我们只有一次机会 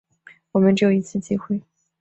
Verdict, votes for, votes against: accepted, 2, 0